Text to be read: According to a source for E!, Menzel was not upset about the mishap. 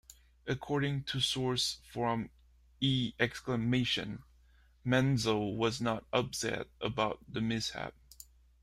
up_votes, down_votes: 0, 2